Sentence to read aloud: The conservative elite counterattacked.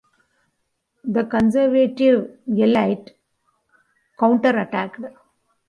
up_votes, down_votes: 1, 3